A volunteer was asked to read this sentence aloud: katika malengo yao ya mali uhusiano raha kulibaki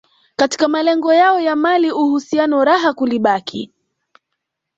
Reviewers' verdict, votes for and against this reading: accepted, 2, 0